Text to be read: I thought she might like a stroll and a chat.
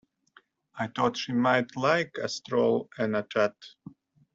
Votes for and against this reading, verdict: 2, 0, accepted